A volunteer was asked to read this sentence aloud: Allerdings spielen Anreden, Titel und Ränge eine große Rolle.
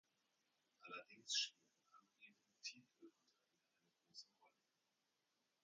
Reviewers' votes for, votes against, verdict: 0, 2, rejected